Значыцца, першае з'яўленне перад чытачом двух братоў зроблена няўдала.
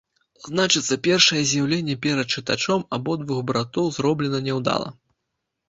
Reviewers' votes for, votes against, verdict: 1, 2, rejected